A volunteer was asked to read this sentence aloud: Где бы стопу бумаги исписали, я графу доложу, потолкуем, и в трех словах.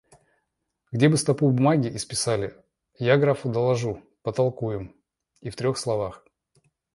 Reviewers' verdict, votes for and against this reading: accepted, 2, 0